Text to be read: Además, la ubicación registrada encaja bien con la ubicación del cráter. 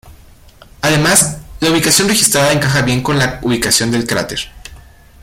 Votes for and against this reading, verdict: 1, 2, rejected